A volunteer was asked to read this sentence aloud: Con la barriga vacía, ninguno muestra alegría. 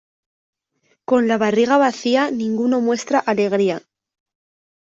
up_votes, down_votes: 2, 0